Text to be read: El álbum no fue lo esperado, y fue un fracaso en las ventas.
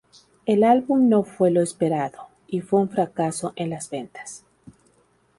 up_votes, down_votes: 0, 2